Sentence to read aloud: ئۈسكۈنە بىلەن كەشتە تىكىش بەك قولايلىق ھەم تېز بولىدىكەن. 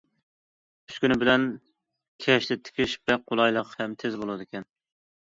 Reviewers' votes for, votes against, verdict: 2, 0, accepted